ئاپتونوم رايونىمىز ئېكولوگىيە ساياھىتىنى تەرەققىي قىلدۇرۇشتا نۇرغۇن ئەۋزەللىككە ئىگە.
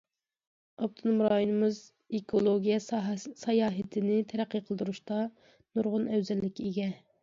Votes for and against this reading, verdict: 0, 2, rejected